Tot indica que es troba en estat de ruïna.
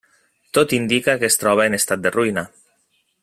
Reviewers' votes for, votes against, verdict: 4, 1, accepted